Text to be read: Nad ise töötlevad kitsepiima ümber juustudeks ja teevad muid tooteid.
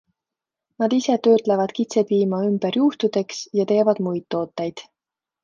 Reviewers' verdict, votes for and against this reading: accepted, 2, 0